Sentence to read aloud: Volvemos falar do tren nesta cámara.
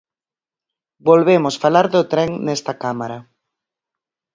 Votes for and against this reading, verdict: 4, 0, accepted